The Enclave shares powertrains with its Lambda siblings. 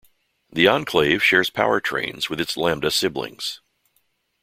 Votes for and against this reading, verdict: 2, 0, accepted